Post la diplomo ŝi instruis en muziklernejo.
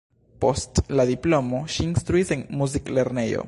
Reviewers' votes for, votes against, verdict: 1, 2, rejected